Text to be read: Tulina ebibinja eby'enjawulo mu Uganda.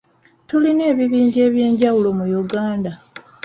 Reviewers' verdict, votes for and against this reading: accepted, 2, 0